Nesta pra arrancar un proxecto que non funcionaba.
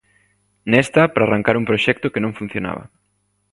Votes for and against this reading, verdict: 2, 0, accepted